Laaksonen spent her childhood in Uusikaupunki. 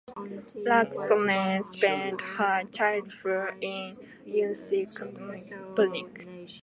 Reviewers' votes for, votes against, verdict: 1, 2, rejected